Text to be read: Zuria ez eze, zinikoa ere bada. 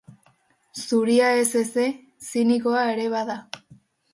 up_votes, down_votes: 8, 0